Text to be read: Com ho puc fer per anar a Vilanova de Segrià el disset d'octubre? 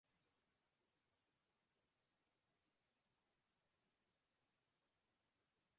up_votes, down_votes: 1, 2